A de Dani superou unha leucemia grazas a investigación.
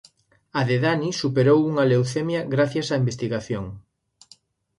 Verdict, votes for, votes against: rejected, 0, 2